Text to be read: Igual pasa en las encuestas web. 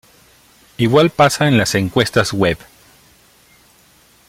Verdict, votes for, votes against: accepted, 2, 0